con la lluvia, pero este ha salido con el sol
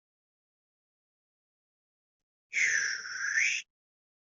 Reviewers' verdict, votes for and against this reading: rejected, 0, 2